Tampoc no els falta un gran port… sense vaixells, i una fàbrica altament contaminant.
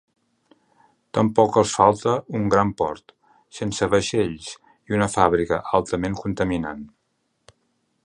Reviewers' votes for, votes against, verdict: 0, 3, rejected